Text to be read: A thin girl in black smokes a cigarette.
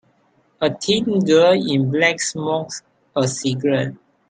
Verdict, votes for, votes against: rejected, 0, 2